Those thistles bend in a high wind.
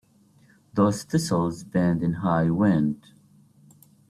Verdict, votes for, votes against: rejected, 1, 2